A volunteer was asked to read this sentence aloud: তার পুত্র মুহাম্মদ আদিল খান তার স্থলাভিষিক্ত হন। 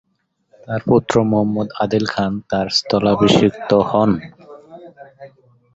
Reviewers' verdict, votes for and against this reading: accepted, 2, 0